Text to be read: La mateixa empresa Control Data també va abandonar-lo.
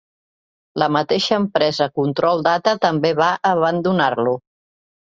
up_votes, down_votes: 2, 0